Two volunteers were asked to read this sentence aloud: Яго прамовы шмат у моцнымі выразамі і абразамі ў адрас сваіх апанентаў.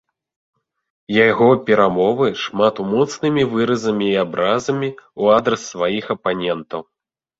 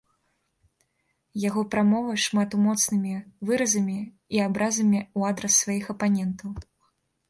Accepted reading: second